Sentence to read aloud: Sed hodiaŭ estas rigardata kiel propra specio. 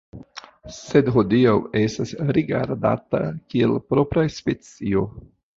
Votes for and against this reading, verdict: 1, 2, rejected